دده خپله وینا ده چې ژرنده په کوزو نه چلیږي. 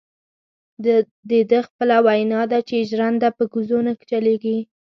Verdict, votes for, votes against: rejected, 0, 2